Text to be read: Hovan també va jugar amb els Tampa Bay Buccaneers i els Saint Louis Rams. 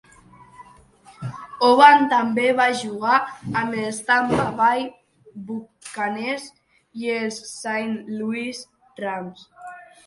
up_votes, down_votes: 2, 1